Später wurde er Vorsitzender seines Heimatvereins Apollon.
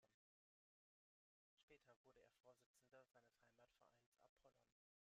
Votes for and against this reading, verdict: 1, 2, rejected